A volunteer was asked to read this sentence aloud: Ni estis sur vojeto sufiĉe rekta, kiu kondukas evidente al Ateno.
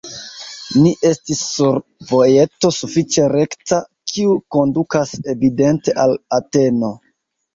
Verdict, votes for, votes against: rejected, 1, 2